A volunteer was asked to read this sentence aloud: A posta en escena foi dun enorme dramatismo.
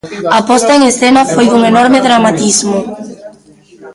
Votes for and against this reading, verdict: 2, 1, accepted